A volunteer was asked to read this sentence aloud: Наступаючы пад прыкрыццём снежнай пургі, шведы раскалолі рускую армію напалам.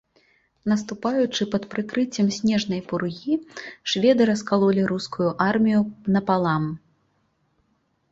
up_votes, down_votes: 1, 3